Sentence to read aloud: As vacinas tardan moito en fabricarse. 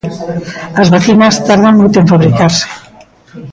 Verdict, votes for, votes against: rejected, 1, 2